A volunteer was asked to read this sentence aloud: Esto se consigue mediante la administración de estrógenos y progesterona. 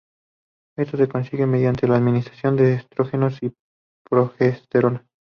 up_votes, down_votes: 2, 0